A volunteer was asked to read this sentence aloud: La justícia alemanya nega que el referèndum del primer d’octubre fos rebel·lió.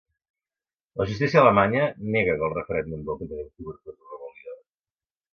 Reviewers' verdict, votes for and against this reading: rejected, 0, 2